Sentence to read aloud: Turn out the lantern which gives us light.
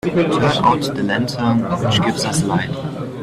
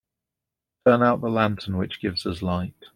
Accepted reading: second